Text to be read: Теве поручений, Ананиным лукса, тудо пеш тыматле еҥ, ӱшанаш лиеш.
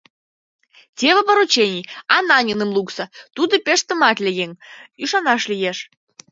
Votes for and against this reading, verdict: 1, 2, rejected